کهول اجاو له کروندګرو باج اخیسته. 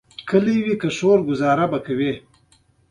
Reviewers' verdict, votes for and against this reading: rejected, 0, 2